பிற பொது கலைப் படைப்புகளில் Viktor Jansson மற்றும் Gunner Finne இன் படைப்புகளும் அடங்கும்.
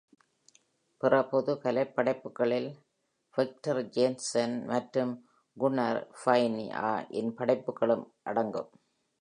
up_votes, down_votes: 2, 0